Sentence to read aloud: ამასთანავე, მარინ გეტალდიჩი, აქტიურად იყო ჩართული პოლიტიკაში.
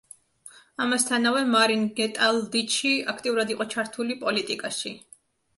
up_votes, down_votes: 2, 0